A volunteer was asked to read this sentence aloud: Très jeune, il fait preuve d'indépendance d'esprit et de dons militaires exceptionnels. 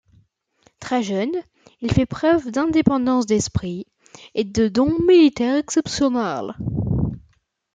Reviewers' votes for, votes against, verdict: 2, 1, accepted